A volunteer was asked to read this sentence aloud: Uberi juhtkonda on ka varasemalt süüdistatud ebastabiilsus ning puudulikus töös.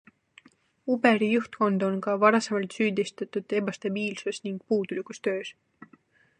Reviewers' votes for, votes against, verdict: 2, 0, accepted